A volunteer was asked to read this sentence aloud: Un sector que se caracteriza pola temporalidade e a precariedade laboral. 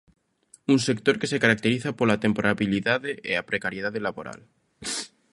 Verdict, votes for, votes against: rejected, 0, 2